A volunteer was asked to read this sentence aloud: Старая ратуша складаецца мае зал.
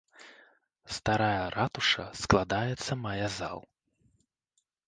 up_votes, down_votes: 2, 0